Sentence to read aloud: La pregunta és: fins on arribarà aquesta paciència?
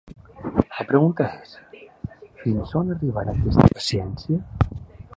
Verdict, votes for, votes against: accepted, 3, 2